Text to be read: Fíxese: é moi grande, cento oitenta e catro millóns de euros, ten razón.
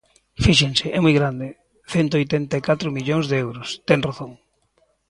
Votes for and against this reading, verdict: 0, 2, rejected